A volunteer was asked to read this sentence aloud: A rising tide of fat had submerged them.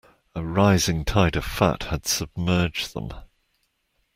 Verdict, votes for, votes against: accepted, 2, 0